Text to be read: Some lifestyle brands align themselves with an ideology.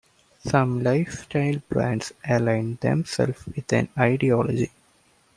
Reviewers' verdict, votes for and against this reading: rejected, 0, 2